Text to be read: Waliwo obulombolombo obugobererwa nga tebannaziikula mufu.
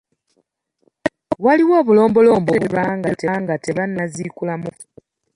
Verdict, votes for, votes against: rejected, 0, 2